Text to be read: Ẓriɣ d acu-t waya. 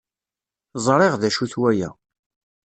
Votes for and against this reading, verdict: 2, 0, accepted